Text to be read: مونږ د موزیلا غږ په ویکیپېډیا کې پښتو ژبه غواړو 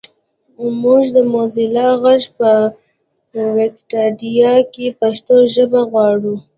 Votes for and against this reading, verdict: 2, 1, accepted